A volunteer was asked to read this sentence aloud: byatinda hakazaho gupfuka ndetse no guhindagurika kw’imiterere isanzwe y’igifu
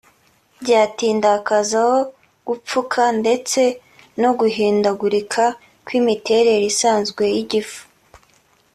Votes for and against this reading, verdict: 2, 1, accepted